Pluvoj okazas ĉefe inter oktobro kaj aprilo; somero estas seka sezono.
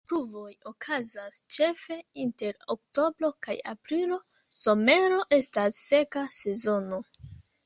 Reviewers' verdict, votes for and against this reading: rejected, 1, 2